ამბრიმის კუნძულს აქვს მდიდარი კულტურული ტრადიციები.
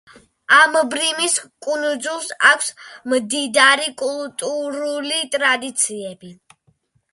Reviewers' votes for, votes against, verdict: 1, 2, rejected